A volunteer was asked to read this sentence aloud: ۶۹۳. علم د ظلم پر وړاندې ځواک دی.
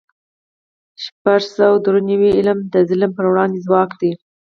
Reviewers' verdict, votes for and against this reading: rejected, 0, 2